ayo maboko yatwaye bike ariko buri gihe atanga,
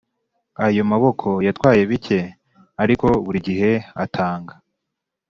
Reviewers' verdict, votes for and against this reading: accepted, 4, 0